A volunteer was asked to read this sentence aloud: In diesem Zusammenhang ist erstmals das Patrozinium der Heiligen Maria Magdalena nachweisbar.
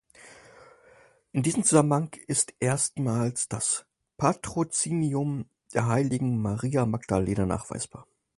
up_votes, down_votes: 4, 2